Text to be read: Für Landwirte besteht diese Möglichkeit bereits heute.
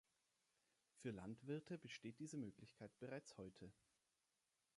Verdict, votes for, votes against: accepted, 2, 0